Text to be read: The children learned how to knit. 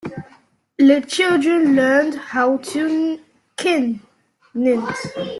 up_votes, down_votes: 0, 2